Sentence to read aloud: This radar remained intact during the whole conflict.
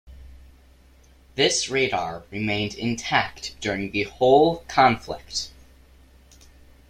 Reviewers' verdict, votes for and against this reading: accepted, 2, 0